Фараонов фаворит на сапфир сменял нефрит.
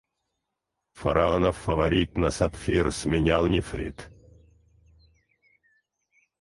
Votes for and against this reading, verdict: 0, 4, rejected